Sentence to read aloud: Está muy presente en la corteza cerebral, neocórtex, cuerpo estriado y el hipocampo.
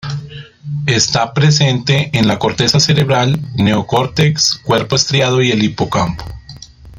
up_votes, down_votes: 0, 2